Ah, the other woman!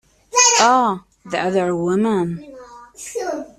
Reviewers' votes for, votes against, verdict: 0, 2, rejected